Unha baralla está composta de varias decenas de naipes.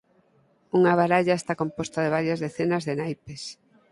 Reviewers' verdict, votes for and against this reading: accepted, 4, 0